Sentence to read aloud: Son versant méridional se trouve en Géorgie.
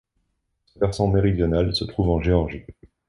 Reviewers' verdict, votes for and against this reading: rejected, 1, 2